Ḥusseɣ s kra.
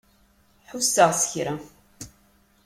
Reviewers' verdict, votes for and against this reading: accepted, 2, 0